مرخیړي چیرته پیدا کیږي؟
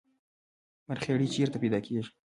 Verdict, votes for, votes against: rejected, 0, 2